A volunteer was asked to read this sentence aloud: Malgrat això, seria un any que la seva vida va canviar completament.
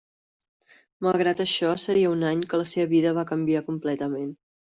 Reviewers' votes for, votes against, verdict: 4, 0, accepted